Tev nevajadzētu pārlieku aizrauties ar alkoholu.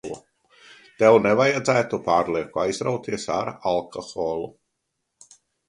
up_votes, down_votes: 3, 0